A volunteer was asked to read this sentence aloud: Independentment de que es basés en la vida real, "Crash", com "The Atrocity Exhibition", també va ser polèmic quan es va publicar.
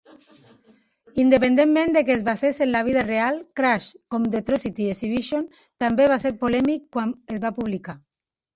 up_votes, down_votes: 3, 1